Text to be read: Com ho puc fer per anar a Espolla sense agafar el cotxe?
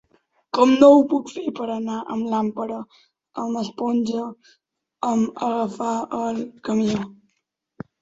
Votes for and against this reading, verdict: 1, 2, rejected